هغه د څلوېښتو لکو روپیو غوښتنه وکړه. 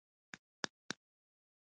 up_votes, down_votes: 1, 2